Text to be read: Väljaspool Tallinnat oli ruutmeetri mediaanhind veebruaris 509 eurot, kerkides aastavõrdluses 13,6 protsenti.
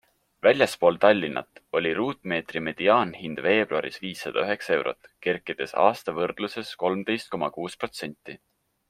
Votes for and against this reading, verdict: 0, 2, rejected